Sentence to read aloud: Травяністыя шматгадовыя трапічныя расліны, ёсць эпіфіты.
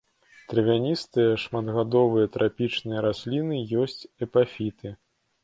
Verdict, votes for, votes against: rejected, 1, 2